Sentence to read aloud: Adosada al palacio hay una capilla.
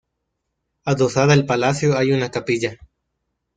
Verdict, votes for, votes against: accepted, 2, 0